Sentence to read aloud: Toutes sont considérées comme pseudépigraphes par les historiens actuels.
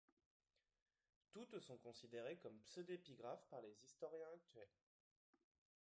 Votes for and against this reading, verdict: 1, 2, rejected